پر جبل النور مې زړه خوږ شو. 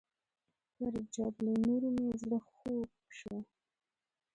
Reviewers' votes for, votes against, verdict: 1, 2, rejected